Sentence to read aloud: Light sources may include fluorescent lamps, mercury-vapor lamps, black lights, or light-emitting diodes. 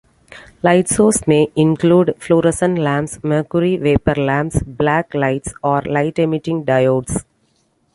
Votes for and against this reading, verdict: 2, 1, accepted